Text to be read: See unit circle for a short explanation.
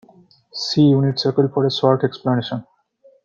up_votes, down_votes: 2, 0